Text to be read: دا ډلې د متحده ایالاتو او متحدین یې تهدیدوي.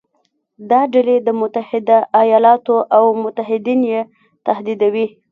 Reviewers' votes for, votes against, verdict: 0, 2, rejected